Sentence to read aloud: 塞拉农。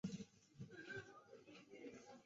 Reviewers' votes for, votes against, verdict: 0, 4, rejected